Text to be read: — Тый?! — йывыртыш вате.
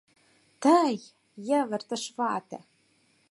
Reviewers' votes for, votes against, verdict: 4, 0, accepted